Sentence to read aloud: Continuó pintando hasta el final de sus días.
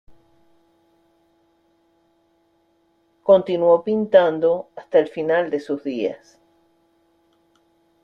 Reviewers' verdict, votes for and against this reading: accepted, 2, 0